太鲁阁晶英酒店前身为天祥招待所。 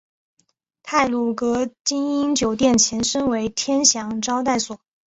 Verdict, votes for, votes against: accepted, 2, 0